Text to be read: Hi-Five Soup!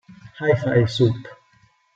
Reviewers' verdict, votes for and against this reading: accepted, 2, 0